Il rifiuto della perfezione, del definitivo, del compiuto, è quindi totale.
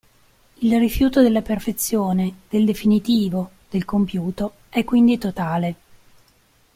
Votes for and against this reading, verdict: 2, 0, accepted